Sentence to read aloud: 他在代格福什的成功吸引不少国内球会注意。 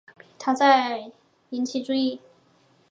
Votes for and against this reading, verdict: 0, 2, rejected